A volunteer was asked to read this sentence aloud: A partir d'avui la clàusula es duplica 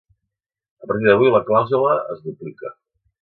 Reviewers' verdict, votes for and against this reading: rejected, 1, 2